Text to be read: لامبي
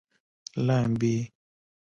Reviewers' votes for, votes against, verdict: 2, 3, rejected